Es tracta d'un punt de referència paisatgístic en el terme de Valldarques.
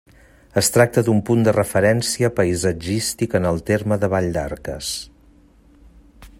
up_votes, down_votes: 2, 0